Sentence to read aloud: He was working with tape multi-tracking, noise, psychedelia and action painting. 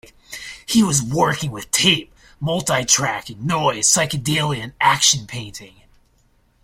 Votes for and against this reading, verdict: 2, 0, accepted